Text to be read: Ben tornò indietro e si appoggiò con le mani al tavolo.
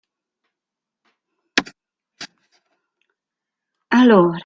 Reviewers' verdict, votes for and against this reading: rejected, 0, 2